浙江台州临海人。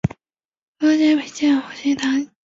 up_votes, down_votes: 0, 4